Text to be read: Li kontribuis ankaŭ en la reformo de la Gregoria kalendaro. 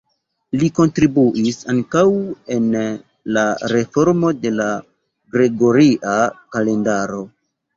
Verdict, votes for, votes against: rejected, 1, 2